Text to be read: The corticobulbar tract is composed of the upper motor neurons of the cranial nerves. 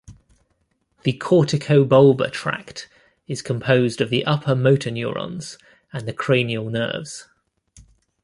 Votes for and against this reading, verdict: 0, 2, rejected